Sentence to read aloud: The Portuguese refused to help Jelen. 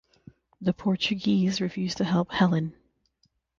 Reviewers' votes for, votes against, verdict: 3, 3, rejected